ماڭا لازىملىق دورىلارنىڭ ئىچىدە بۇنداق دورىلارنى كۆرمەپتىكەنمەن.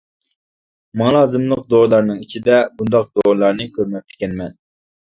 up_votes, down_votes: 2, 0